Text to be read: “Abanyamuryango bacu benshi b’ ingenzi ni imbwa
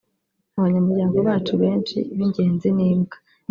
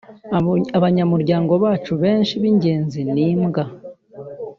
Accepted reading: first